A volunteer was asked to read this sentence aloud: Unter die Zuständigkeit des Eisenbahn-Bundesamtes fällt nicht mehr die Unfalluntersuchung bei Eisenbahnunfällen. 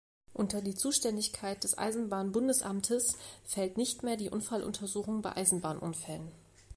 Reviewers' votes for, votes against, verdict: 2, 0, accepted